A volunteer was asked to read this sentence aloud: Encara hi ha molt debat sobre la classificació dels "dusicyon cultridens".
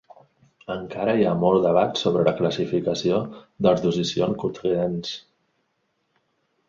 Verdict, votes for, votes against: rejected, 0, 2